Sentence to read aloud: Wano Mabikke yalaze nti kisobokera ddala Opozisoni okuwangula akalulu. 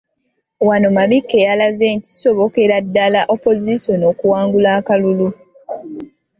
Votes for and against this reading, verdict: 2, 0, accepted